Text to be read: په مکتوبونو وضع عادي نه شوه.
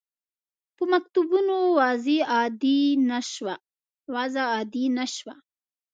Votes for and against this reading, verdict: 0, 2, rejected